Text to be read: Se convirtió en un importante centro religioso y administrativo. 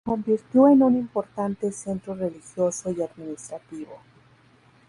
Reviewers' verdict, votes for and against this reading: rejected, 0, 2